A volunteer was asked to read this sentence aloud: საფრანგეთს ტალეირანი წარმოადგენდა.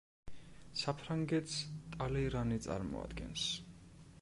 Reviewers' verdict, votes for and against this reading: rejected, 1, 2